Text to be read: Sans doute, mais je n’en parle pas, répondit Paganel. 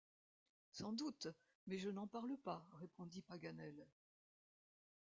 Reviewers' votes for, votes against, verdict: 1, 2, rejected